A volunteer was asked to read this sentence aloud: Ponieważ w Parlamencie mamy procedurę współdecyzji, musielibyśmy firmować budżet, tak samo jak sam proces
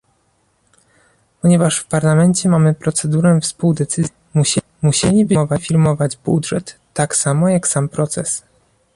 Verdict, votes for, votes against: rejected, 0, 2